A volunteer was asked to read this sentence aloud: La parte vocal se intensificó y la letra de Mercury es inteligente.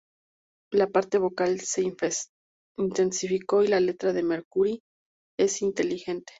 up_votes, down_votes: 0, 2